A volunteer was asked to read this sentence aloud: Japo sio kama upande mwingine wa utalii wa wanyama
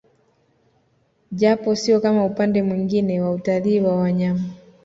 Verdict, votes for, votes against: accepted, 2, 0